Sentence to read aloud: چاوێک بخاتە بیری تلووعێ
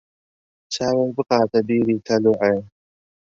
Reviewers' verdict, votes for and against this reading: rejected, 1, 2